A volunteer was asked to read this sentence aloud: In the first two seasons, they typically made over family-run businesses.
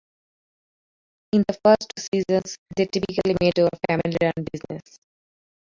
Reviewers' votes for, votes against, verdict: 1, 2, rejected